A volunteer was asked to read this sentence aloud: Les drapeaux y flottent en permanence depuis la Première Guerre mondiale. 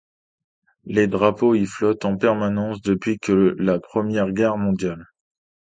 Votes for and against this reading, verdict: 1, 2, rejected